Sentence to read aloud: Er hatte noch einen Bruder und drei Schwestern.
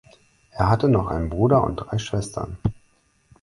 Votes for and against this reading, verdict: 4, 0, accepted